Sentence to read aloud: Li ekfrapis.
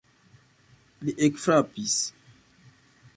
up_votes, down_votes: 1, 2